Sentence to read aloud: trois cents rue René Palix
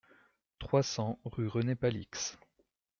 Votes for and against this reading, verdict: 2, 0, accepted